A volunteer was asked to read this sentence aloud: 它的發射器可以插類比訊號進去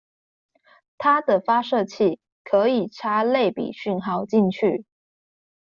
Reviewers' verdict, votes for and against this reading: accepted, 2, 0